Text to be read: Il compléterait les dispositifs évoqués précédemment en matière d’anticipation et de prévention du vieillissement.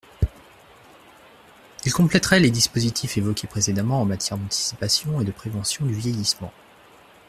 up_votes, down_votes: 2, 0